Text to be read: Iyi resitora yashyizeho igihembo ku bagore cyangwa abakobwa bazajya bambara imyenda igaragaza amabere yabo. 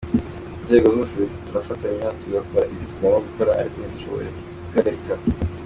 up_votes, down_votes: 0, 3